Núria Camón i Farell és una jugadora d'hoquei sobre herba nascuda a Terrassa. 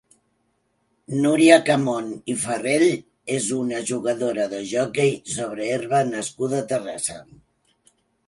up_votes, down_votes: 1, 2